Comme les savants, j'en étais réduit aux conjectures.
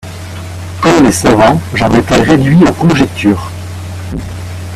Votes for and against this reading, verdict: 0, 2, rejected